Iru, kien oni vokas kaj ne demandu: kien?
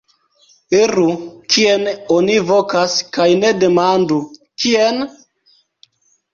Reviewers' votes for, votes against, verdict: 1, 2, rejected